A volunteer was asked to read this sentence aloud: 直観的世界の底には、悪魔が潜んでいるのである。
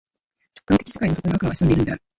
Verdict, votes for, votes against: rejected, 0, 2